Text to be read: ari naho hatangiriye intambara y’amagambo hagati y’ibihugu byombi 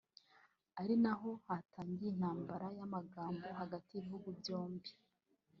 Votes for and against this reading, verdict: 1, 2, rejected